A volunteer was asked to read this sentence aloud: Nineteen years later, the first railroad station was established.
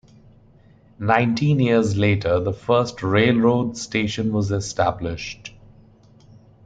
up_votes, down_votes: 2, 0